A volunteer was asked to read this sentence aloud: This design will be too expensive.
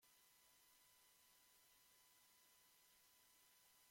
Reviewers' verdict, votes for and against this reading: rejected, 1, 2